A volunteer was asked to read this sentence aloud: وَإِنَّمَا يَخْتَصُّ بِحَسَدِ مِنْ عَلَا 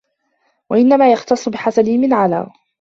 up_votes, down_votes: 0, 2